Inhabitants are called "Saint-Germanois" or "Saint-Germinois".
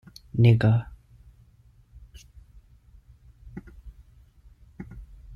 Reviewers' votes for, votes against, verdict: 0, 2, rejected